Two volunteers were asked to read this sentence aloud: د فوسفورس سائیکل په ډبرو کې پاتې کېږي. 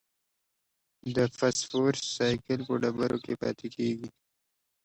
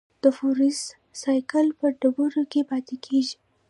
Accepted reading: first